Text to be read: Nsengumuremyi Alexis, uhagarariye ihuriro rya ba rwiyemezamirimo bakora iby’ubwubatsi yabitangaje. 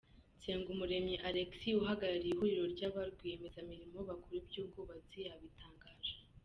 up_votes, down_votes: 2, 0